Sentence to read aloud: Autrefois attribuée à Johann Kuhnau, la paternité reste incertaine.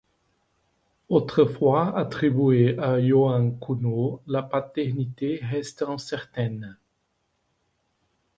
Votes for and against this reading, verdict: 2, 0, accepted